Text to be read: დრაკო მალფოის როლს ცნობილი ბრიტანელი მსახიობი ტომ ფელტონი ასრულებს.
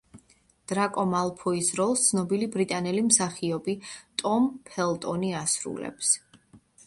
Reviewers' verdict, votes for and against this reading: accepted, 2, 0